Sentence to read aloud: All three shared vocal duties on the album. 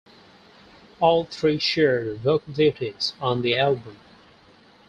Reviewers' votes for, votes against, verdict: 4, 0, accepted